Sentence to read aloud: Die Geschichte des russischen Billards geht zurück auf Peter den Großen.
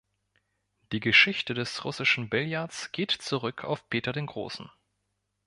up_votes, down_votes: 2, 0